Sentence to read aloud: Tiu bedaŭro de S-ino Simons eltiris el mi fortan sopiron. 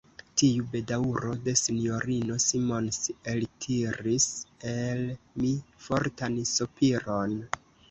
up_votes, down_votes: 1, 2